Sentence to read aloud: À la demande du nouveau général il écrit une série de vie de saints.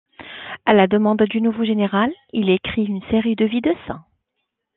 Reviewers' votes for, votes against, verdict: 2, 0, accepted